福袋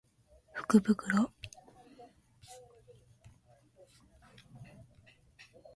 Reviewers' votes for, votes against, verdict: 1, 2, rejected